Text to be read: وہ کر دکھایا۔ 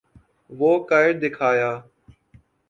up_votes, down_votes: 2, 1